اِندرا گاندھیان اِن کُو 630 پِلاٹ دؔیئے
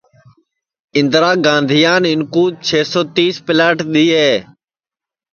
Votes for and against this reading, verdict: 0, 2, rejected